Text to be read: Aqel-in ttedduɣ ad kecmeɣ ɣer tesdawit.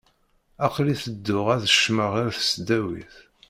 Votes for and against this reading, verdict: 1, 2, rejected